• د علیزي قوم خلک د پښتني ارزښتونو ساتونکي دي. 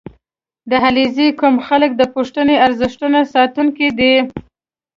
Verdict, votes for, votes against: accepted, 2, 0